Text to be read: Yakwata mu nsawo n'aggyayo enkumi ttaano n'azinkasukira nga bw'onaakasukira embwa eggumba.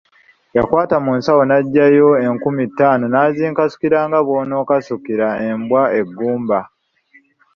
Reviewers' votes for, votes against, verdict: 3, 0, accepted